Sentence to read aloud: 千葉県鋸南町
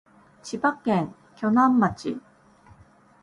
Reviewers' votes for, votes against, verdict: 2, 0, accepted